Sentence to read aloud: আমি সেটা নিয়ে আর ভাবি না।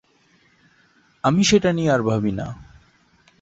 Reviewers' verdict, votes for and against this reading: accepted, 2, 0